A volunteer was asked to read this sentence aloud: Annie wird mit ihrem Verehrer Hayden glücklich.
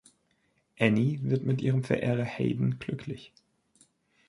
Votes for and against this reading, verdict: 2, 0, accepted